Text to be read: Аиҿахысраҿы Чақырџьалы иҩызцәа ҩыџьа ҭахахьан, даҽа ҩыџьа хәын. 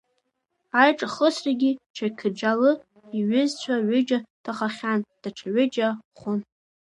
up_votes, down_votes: 1, 2